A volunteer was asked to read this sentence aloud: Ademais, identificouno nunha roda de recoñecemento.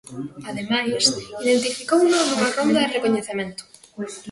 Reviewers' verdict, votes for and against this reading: rejected, 0, 2